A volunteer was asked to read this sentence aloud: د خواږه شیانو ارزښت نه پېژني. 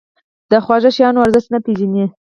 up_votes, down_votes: 4, 2